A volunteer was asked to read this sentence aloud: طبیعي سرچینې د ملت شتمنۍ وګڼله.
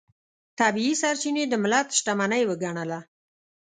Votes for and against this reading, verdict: 2, 1, accepted